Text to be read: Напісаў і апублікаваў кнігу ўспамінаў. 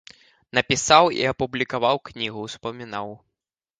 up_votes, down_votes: 0, 2